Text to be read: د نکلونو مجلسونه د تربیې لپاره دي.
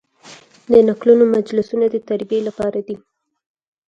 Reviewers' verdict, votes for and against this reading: accepted, 4, 0